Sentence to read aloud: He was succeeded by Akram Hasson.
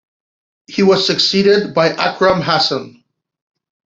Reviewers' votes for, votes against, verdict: 1, 2, rejected